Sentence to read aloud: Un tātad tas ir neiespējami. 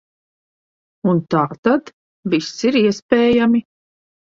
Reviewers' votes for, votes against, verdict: 1, 2, rejected